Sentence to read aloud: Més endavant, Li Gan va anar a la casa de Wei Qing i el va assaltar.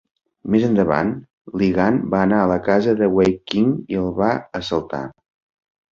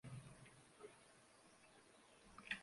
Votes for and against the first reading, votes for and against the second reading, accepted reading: 2, 0, 0, 2, first